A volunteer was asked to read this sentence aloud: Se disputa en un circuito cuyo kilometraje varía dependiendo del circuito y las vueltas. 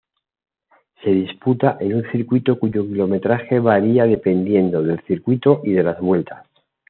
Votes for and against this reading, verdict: 1, 2, rejected